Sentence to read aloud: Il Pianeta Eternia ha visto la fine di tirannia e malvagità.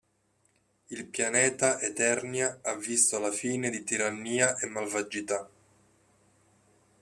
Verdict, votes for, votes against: accepted, 2, 0